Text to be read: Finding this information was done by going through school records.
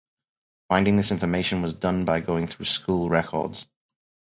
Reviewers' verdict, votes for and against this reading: accepted, 4, 0